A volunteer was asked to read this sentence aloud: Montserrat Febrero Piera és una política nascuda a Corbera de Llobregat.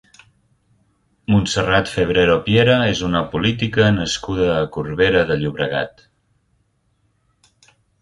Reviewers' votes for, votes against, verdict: 3, 0, accepted